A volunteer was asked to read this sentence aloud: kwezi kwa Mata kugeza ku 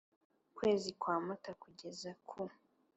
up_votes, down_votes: 2, 0